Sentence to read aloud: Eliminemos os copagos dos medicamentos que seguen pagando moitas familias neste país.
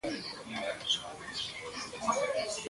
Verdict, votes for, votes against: rejected, 0, 2